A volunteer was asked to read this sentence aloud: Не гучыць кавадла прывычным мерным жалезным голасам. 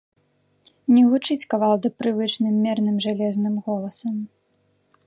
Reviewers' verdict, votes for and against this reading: rejected, 1, 2